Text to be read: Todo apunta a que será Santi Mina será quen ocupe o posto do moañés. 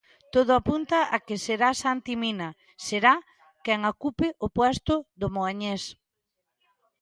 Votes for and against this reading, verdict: 0, 2, rejected